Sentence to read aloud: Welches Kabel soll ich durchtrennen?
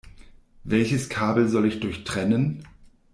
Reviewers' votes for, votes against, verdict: 2, 0, accepted